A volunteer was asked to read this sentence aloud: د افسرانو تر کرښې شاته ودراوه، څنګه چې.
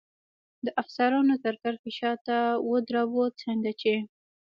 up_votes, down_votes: 2, 0